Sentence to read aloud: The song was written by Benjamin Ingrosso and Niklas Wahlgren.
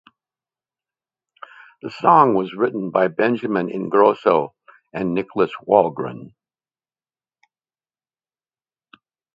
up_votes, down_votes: 2, 0